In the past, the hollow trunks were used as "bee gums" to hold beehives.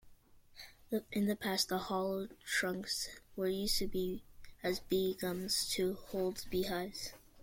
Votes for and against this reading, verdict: 0, 2, rejected